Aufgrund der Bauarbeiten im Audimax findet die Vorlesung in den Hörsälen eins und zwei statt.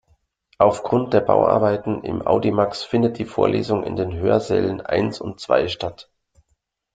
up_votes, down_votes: 2, 0